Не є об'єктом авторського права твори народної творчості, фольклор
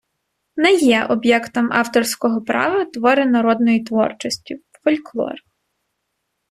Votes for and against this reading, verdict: 1, 2, rejected